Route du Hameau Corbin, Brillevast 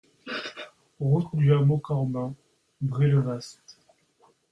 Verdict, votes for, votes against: accepted, 2, 1